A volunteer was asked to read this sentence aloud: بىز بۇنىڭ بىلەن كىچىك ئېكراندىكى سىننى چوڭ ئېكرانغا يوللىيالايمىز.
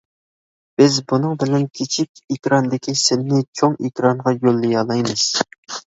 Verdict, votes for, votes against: accepted, 2, 1